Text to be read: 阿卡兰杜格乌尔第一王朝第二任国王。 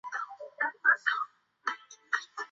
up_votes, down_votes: 1, 3